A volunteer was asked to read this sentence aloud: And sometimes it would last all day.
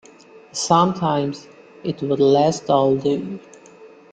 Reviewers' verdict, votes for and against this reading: rejected, 1, 2